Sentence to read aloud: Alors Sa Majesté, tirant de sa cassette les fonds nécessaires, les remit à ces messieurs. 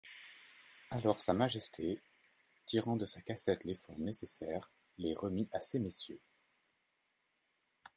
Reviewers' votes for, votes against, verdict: 2, 0, accepted